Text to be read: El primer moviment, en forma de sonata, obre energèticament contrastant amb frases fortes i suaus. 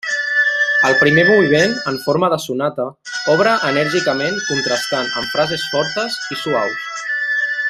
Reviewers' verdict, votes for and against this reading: rejected, 0, 2